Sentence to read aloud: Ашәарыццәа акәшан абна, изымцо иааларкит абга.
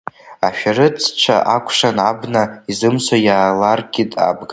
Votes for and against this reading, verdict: 1, 2, rejected